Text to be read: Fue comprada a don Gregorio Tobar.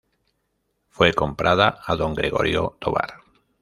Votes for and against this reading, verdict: 2, 1, accepted